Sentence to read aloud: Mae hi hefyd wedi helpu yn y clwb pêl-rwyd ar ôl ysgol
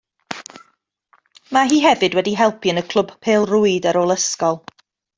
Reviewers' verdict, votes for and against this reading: rejected, 1, 2